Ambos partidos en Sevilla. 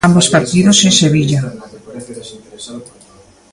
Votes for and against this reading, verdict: 2, 0, accepted